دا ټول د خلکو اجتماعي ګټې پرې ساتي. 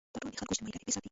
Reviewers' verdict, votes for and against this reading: rejected, 0, 2